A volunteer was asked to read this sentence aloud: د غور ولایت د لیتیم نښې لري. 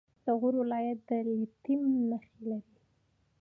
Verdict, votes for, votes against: accepted, 2, 0